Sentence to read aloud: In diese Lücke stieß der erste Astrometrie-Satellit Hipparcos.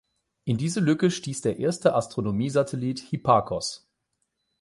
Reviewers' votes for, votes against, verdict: 0, 8, rejected